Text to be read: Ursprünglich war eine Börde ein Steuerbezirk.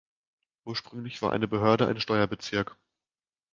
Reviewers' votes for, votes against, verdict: 1, 2, rejected